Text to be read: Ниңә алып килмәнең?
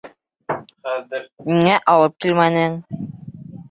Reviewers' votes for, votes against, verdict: 1, 3, rejected